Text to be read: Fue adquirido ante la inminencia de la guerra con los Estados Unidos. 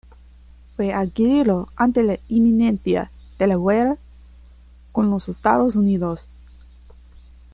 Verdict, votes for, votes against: rejected, 1, 2